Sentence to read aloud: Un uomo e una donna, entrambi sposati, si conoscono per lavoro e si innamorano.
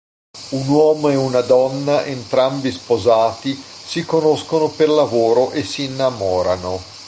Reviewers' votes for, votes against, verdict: 2, 0, accepted